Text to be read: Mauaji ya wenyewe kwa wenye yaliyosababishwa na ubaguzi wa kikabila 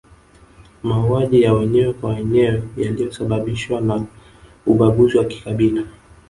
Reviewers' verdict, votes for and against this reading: accepted, 3, 0